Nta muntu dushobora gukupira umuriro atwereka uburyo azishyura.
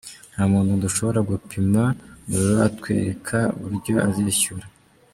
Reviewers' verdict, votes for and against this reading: rejected, 1, 2